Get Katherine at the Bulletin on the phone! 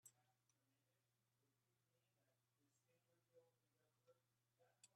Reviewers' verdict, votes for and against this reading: rejected, 0, 2